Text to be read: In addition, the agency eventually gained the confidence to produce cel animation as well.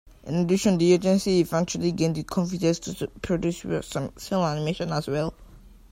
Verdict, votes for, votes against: accepted, 2, 1